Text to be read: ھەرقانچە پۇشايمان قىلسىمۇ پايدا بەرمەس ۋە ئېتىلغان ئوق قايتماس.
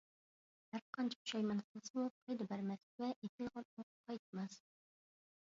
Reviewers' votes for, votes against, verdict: 0, 3, rejected